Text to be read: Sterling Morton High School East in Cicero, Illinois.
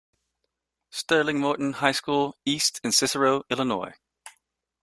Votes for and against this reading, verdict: 2, 0, accepted